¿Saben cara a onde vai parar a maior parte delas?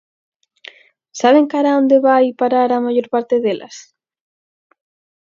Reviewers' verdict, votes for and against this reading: accepted, 4, 0